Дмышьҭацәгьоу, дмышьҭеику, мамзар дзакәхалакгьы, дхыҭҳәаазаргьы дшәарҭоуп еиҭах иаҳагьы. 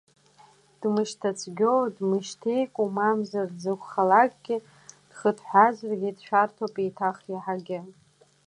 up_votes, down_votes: 2, 0